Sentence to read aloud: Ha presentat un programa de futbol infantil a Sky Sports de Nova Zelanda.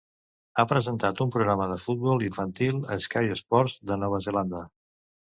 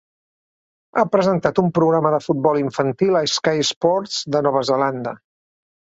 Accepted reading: second